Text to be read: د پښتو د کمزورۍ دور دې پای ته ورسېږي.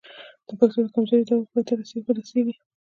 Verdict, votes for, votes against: rejected, 1, 2